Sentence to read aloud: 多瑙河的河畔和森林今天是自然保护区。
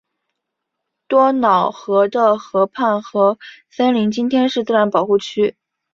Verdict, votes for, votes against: accepted, 2, 0